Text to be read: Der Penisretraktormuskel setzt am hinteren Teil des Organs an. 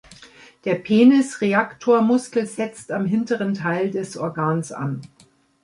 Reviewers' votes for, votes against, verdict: 0, 2, rejected